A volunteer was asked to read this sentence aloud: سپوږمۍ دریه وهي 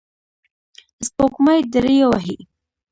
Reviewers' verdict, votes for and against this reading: rejected, 1, 2